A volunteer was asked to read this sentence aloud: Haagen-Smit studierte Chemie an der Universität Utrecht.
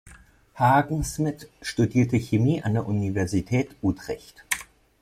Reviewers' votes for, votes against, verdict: 2, 0, accepted